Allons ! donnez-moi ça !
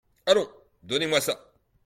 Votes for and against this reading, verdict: 2, 0, accepted